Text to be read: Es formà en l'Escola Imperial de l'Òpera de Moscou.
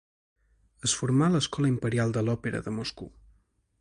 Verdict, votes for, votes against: accepted, 2, 1